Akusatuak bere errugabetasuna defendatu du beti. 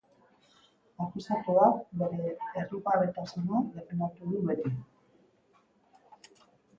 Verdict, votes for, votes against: rejected, 0, 2